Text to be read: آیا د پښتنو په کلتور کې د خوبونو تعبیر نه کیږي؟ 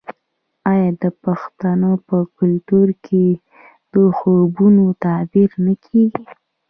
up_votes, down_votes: 1, 2